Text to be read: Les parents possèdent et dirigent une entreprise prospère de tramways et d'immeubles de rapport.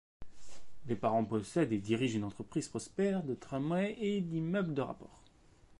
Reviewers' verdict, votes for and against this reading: accepted, 2, 0